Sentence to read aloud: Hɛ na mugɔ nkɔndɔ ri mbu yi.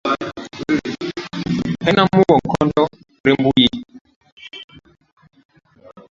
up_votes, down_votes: 0, 2